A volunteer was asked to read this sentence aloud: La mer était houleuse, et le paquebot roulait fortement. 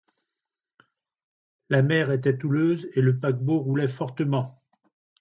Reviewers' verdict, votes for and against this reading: accepted, 2, 0